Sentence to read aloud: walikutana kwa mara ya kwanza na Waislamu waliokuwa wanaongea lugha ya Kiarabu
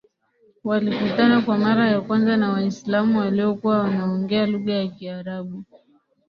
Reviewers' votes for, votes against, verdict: 3, 1, accepted